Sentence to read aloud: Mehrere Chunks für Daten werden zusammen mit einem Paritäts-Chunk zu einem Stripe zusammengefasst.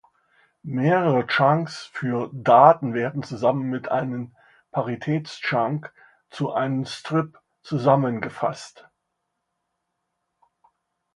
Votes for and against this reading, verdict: 0, 2, rejected